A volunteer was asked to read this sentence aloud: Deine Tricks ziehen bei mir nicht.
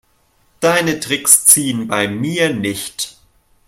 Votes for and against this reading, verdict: 2, 0, accepted